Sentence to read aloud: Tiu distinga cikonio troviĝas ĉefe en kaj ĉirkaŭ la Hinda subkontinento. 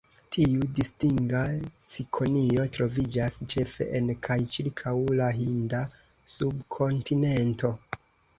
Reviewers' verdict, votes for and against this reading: accepted, 2, 0